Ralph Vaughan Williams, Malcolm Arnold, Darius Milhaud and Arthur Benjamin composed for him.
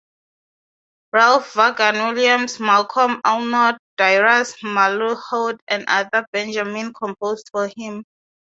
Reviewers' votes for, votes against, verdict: 0, 6, rejected